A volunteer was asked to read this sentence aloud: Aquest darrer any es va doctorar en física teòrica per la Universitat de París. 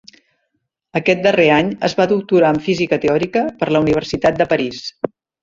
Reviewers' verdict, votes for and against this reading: accepted, 2, 0